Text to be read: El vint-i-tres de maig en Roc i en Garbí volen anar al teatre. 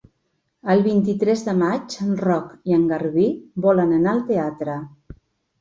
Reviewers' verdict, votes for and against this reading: accepted, 2, 0